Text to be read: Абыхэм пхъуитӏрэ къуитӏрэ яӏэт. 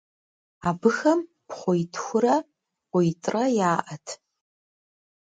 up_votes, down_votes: 0, 2